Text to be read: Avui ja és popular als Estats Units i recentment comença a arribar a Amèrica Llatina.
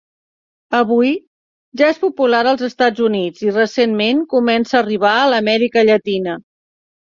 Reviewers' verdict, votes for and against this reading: rejected, 1, 2